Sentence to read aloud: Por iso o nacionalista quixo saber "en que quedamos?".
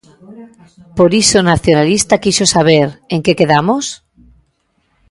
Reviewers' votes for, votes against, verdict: 0, 2, rejected